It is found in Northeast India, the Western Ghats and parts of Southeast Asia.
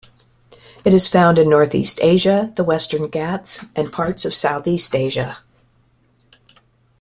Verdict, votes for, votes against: rejected, 1, 2